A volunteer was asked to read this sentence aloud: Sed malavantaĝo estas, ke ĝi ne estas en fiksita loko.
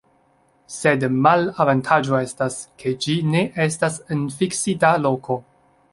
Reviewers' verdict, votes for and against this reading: rejected, 1, 2